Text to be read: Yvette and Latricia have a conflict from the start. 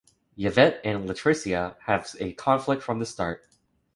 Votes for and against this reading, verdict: 0, 3, rejected